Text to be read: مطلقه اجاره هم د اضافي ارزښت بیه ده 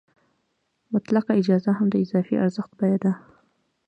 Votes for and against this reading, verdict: 1, 2, rejected